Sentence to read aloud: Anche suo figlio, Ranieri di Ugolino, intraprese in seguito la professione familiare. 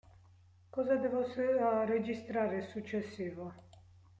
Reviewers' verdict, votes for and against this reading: rejected, 0, 2